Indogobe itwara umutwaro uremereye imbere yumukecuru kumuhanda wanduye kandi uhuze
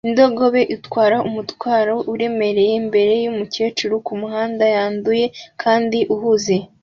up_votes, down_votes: 2, 0